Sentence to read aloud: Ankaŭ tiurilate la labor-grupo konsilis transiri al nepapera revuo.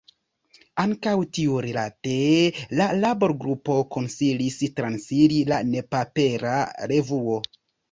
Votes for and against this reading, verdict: 0, 2, rejected